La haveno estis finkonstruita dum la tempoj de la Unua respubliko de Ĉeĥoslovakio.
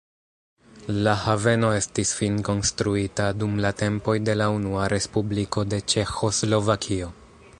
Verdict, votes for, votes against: accepted, 2, 1